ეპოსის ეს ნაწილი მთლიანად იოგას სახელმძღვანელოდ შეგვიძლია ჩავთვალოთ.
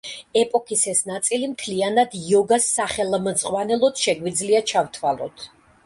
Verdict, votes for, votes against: rejected, 0, 2